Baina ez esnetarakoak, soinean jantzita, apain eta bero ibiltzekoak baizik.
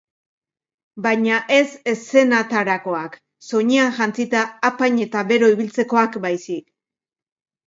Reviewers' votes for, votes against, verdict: 1, 2, rejected